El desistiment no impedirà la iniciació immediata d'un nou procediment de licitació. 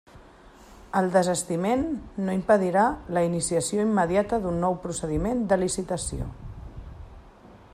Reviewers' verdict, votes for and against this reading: accepted, 2, 1